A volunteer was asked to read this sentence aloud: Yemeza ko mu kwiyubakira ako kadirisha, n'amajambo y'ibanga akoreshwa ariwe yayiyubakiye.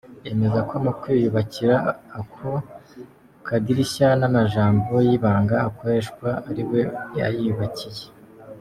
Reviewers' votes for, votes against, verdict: 3, 1, accepted